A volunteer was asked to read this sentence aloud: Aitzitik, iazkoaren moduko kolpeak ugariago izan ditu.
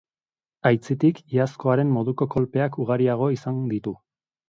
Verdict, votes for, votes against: accepted, 2, 0